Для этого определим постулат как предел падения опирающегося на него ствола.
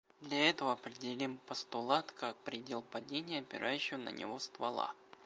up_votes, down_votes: 1, 2